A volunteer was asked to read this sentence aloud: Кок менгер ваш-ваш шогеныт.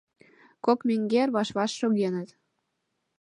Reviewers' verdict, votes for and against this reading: accepted, 2, 0